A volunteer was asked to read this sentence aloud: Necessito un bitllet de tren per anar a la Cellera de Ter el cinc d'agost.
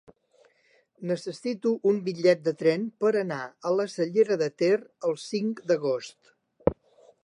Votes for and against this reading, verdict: 3, 0, accepted